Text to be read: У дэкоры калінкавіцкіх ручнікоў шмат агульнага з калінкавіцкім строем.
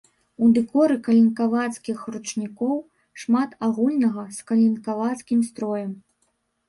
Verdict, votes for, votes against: rejected, 1, 2